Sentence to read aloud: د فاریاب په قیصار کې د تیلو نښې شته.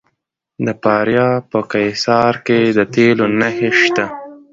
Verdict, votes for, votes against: accepted, 2, 0